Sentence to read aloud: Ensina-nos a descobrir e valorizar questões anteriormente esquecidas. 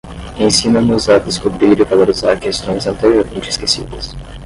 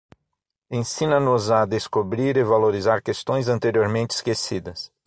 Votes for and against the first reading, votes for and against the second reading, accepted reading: 10, 0, 3, 6, first